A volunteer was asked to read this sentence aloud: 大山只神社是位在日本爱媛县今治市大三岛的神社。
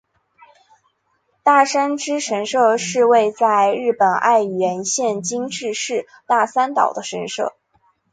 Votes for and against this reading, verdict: 5, 0, accepted